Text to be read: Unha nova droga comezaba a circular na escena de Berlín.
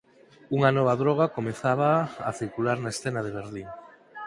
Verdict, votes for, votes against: accepted, 4, 0